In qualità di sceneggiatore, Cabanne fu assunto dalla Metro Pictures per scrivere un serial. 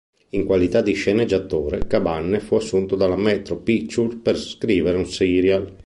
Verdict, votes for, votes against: rejected, 0, 2